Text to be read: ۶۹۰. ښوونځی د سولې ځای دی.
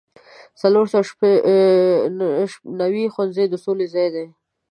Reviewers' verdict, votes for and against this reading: rejected, 0, 2